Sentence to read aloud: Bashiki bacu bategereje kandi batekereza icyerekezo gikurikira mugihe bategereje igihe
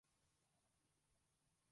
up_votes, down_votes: 0, 2